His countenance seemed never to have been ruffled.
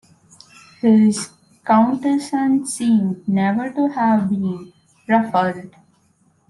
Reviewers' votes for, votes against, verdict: 0, 2, rejected